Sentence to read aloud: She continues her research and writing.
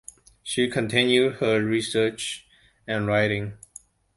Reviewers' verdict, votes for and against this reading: rejected, 0, 2